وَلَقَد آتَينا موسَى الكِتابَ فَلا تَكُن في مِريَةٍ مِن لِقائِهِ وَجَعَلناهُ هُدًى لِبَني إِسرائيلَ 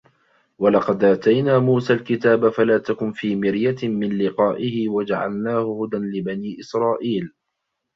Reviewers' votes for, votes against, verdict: 0, 2, rejected